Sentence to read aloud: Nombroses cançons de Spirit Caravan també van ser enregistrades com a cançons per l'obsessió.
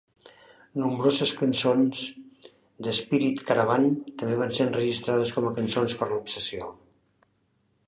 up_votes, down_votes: 4, 1